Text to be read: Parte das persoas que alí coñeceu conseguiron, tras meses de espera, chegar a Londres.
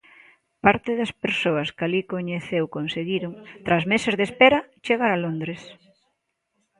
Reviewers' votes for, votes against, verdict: 2, 1, accepted